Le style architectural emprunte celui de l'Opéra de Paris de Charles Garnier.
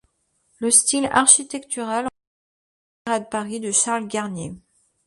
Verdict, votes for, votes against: rejected, 0, 2